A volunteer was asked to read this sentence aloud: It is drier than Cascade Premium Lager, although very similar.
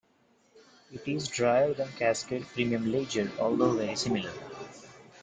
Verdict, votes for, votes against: accepted, 2, 1